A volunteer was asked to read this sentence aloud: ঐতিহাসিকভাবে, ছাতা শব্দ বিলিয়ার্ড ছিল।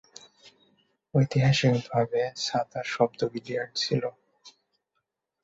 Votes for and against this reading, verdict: 8, 6, accepted